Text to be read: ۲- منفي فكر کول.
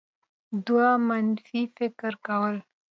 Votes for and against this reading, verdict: 0, 2, rejected